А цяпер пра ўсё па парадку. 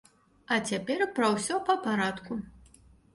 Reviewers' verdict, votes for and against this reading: accepted, 2, 0